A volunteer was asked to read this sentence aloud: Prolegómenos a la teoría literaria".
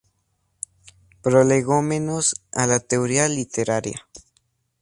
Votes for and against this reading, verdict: 2, 0, accepted